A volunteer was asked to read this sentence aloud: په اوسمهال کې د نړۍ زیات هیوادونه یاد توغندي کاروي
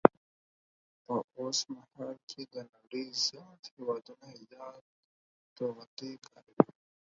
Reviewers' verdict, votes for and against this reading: accepted, 4, 2